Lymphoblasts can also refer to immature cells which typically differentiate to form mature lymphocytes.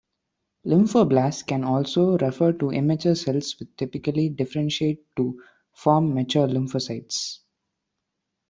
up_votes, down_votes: 2, 1